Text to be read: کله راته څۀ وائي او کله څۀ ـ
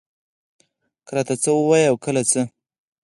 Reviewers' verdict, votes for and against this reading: rejected, 2, 4